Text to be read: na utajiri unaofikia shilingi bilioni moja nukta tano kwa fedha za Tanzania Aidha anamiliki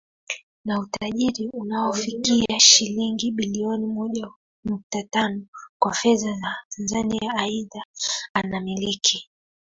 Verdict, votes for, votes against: rejected, 0, 2